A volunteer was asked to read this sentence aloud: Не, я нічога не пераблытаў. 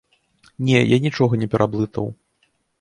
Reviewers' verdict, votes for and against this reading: accepted, 2, 0